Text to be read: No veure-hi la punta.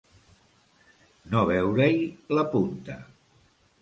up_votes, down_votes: 2, 1